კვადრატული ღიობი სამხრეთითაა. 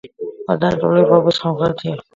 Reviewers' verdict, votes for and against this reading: rejected, 0, 2